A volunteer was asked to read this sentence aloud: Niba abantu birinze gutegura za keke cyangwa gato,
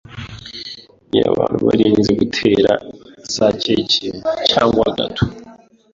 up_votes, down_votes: 1, 2